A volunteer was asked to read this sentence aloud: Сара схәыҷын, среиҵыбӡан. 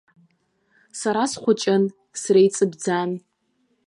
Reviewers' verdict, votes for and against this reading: rejected, 0, 2